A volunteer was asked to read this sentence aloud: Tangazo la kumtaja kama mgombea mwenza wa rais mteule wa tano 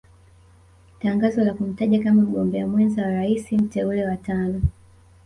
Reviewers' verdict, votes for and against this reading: accepted, 2, 1